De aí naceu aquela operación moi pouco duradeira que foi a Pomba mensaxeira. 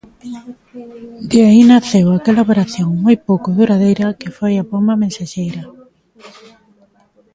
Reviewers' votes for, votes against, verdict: 2, 0, accepted